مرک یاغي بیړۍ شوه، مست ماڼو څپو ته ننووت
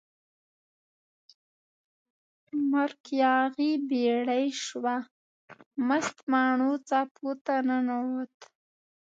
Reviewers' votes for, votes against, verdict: 1, 2, rejected